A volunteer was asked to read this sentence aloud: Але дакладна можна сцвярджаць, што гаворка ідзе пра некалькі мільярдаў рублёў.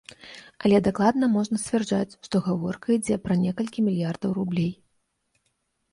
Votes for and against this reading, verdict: 0, 2, rejected